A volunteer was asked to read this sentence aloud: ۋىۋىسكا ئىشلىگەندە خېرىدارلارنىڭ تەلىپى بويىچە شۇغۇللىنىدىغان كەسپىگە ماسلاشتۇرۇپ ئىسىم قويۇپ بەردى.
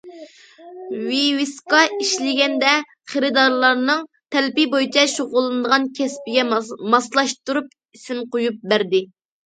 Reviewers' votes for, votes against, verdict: 0, 2, rejected